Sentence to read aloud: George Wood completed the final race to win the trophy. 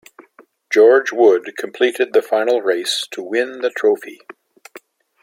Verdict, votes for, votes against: accepted, 2, 0